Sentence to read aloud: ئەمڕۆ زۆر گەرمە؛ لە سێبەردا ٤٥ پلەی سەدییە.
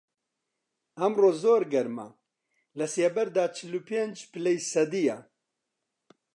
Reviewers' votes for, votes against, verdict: 0, 2, rejected